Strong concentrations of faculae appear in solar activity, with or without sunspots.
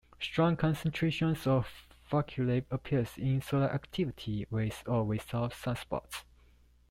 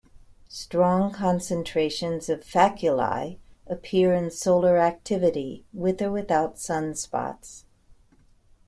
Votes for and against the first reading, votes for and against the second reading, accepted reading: 0, 2, 2, 0, second